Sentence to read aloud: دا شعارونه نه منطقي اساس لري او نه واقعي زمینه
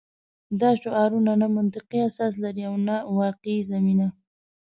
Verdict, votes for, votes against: accepted, 2, 0